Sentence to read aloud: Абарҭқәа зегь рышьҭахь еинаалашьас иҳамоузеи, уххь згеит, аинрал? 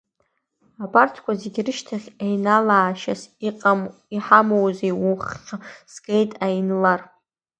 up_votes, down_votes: 0, 2